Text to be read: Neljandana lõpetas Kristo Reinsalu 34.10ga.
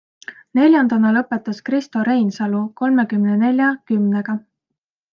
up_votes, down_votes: 0, 2